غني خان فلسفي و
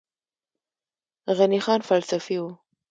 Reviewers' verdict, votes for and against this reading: rejected, 1, 2